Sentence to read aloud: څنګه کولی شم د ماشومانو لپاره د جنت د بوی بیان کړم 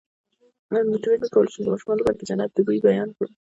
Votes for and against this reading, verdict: 1, 2, rejected